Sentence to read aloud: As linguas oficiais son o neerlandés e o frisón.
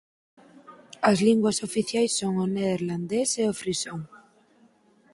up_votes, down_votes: 4, 0